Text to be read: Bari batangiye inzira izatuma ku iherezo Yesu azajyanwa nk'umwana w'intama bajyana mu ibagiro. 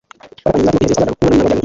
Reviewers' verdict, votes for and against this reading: rejected, 0, 2